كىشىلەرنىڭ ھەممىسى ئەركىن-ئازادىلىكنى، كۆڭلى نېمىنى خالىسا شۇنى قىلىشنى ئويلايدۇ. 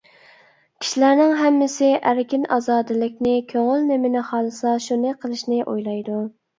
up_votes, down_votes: 1, 2